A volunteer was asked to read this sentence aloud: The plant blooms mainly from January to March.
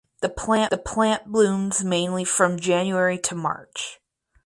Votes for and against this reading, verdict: 0, 4, rejected